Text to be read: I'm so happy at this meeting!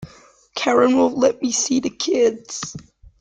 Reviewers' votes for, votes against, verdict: 0, 2, rejected